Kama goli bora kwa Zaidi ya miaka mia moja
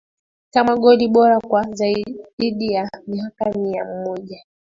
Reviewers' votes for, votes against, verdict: 2, 0, accepted